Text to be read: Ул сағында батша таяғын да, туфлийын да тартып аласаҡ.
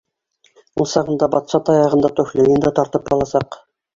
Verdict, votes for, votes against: rejected, 2, 3